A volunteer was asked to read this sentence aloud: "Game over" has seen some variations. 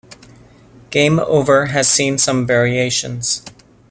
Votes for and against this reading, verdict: 1, 2, rejected